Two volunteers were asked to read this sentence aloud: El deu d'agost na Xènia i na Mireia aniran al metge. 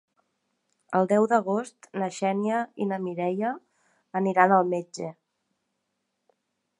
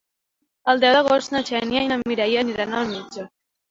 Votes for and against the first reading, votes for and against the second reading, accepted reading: 4, 0, 1, 2, first